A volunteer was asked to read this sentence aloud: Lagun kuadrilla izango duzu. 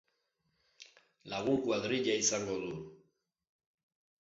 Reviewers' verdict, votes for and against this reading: rejected, 1, 2